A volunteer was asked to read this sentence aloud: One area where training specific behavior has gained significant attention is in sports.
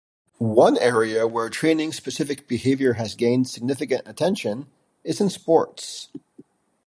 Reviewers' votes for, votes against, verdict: 2, 0, accepted